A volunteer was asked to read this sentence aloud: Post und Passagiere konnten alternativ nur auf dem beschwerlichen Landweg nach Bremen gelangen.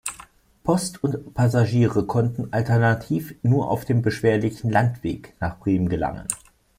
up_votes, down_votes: 2, 0